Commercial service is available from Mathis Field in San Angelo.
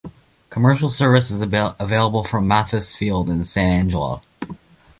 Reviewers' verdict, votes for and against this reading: rejected, 1, 2